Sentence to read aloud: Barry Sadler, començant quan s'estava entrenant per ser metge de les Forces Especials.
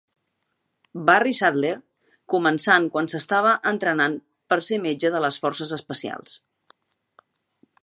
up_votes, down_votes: 2, 0